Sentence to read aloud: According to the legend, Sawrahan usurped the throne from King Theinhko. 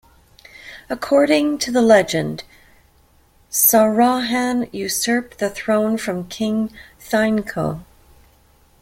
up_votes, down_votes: 2, 0